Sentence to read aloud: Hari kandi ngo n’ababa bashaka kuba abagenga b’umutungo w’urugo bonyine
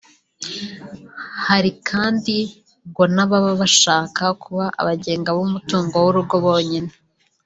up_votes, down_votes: 2, 0